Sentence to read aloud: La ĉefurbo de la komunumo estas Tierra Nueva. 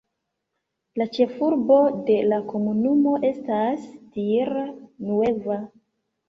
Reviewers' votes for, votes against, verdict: 0, 2, rejected